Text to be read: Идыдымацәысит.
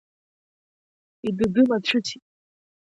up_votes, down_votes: 1, 2